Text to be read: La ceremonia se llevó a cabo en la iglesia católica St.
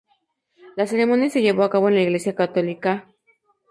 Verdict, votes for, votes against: accepted, 2, 0